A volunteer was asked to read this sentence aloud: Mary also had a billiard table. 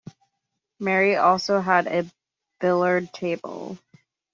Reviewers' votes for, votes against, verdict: 1, 2, rejected